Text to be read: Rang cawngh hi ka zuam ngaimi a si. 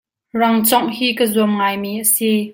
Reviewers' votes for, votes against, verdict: 2, 0, accepted